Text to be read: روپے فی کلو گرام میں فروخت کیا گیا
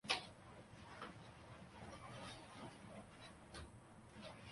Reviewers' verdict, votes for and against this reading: rejected, 0, 3